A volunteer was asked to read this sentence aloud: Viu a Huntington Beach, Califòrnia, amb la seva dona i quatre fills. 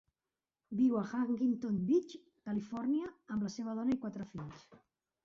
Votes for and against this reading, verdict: 3, 0, accepted